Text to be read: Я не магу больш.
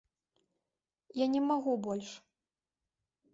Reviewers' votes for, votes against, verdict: 2, 0, accepted